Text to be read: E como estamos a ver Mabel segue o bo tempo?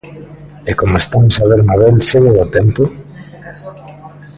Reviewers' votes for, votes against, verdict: 0, 2, rejected